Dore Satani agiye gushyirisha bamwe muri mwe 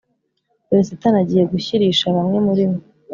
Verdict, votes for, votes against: accepted, 4, 0